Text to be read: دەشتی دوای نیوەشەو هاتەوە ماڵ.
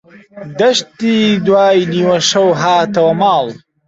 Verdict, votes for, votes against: rejected, 1, 2